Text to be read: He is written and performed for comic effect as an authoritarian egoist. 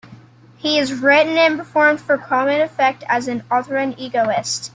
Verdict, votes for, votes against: rejected, 0, 2